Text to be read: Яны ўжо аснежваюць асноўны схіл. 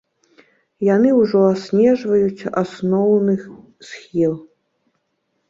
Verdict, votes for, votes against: rejected, 0, 3